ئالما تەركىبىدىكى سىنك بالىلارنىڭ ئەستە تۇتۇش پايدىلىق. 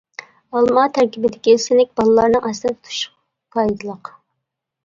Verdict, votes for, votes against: rejected, 0, 2